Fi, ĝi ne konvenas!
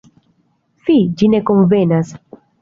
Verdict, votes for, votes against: rejected, 1, 2